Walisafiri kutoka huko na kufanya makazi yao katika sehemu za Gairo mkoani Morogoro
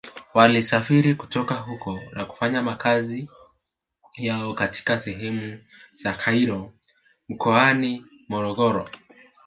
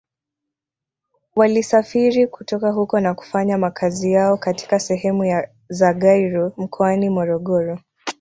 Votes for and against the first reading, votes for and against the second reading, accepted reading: 2, 0, 1, 2, first